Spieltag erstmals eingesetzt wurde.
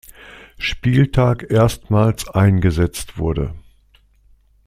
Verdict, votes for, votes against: accepted, 2, 0